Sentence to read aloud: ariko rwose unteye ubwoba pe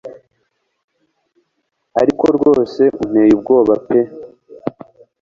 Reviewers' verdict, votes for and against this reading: accepted, 2, 0